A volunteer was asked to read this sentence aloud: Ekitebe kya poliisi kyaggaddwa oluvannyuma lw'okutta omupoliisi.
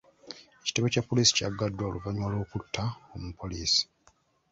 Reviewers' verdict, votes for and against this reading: accepted, 2, 0